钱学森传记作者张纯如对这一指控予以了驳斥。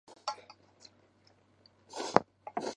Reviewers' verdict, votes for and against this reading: rejected, 0, 4